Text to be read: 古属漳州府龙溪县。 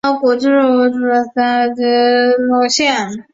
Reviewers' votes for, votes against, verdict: 0, 2, rejected